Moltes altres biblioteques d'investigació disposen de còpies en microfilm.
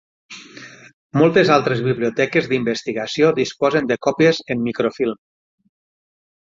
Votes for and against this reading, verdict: 9, 0, accepted